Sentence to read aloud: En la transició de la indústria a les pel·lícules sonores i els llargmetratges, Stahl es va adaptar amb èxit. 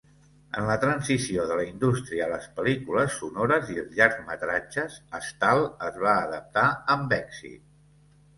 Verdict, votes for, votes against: accepted, 2, 0